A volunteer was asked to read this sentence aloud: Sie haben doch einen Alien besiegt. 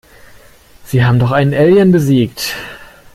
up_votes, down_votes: 2, 0